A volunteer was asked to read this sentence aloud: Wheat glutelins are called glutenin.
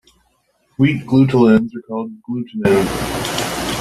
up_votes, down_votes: 1, 2